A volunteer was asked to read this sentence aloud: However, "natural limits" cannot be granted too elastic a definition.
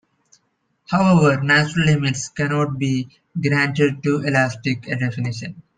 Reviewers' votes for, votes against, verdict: 2, 0, accepted